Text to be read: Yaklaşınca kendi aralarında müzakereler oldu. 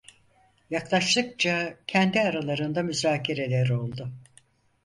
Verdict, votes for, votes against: rejected, 2, 4